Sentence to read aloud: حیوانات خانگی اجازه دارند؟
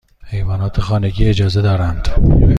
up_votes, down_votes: 2, 0